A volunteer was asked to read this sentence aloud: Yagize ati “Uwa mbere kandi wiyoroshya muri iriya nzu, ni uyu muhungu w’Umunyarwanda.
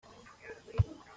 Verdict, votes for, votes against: rejected, 0, 3